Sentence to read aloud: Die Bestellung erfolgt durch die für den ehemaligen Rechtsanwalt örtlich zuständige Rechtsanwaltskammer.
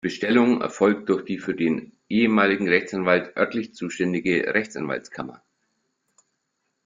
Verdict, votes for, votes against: rejected, 0, 2